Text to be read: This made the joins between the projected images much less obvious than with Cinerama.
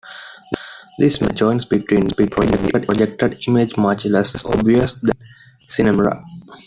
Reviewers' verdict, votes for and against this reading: rejected, 0, 2